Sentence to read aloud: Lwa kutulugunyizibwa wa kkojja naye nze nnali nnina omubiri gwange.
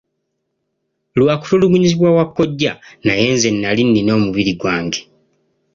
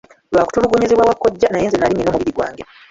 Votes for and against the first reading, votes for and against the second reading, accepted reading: 2, 0, 0, 2, first